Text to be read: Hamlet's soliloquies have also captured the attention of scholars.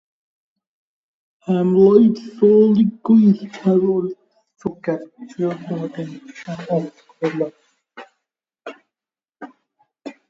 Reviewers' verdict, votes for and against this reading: rejected, 0, 2